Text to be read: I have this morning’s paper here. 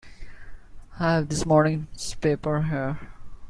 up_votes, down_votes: 2, 0